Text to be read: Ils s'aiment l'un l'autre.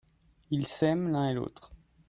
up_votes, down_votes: 1, 2